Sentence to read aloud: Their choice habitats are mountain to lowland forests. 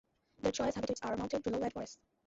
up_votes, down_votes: 0, 2